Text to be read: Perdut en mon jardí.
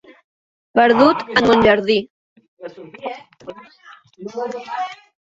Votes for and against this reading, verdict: 1, 2, rejected